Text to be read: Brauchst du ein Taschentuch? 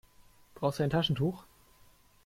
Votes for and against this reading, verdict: 2, 0, accepted